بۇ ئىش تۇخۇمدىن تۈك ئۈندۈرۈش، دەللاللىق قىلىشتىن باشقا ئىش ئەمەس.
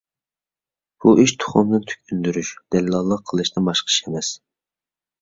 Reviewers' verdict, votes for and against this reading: accepted, 2, 0